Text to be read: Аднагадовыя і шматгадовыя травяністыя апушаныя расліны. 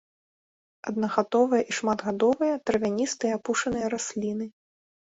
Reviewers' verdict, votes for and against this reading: accepted, 2, 0